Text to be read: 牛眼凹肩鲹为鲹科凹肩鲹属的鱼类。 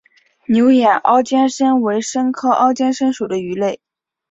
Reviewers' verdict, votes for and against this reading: accepted, 9, 0